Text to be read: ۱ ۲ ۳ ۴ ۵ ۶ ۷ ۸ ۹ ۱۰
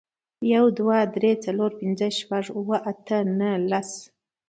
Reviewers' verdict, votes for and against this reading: rejected, 0, 2